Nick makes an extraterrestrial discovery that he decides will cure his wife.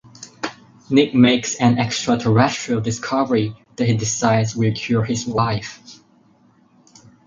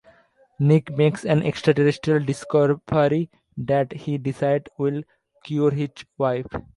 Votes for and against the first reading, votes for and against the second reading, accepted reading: 4, 0, 0, 2, first